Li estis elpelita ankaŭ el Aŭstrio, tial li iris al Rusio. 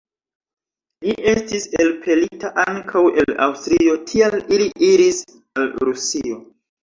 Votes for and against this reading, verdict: 1, 2, rejected